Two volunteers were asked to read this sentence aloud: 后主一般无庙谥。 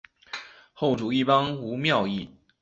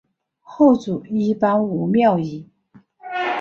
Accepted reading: second